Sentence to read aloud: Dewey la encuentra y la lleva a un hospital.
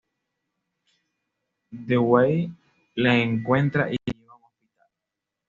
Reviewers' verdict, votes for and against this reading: rejected, 0, 2